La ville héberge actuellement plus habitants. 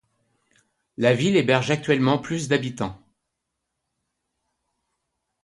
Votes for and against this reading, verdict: 1, 2, rejected